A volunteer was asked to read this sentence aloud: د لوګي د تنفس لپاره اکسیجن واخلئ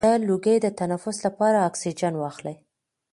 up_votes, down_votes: 1, 2